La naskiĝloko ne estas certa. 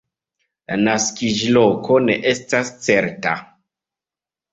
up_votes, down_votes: 2, 0